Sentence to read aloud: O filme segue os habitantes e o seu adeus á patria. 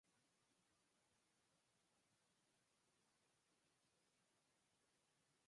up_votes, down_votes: 0, 4